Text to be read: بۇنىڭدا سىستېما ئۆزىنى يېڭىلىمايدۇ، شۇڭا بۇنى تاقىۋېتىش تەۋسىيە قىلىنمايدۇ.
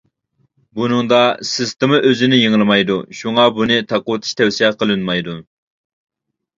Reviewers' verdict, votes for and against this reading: accepted, 2, 0